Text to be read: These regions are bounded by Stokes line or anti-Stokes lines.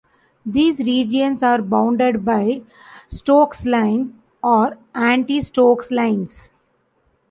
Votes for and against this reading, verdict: 2, 1, accepted